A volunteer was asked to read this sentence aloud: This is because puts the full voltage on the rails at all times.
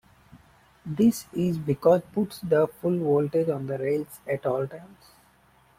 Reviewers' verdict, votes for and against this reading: rejected, 0, 2